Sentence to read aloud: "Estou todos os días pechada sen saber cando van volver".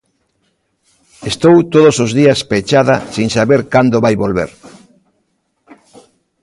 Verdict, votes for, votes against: rejected, 0, 2